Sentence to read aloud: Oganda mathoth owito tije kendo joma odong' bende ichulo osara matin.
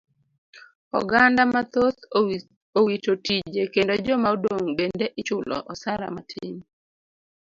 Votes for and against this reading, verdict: 2, 0, accepted